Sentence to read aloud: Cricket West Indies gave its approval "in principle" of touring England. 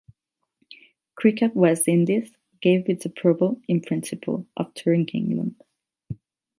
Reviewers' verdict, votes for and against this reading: rejected, 4, 4